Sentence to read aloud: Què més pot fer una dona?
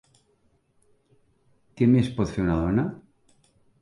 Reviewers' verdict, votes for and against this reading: accepted, 3, 0